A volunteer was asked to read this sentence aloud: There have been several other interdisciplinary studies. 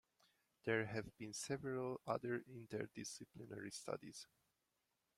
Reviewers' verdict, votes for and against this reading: rejected, 0, 2